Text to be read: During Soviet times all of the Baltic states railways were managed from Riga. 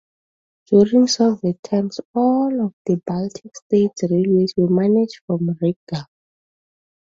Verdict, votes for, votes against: accepted, 2, 0